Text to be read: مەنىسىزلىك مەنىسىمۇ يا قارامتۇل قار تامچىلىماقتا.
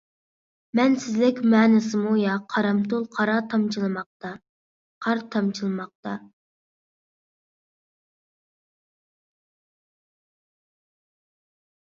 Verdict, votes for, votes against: rejected, 0, 2